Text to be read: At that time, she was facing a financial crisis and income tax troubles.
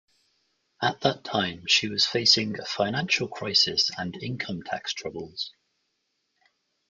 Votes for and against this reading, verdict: 2, 1, accepted